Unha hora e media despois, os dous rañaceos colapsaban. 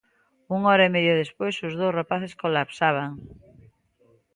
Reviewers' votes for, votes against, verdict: 0, 2, rejected